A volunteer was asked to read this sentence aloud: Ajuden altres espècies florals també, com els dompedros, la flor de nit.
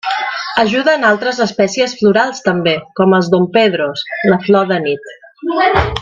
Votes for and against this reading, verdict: 3, 1, accepted